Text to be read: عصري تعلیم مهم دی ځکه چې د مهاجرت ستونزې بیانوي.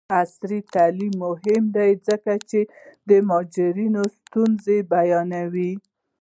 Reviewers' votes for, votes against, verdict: 1, 2, rejected